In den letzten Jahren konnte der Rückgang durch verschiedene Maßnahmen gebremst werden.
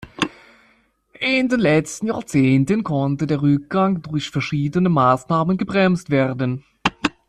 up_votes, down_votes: 0, 2